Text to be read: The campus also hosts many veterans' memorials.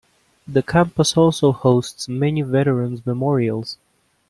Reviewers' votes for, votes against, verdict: 1, 2, rejected